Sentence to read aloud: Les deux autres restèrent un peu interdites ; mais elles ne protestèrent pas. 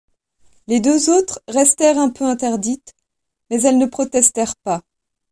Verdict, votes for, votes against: accepted, 2, 0